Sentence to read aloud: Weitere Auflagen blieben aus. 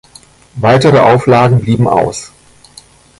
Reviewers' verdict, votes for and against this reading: rejected, 1, 2